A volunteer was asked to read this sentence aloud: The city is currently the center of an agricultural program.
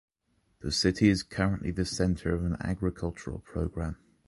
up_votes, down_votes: 2, 0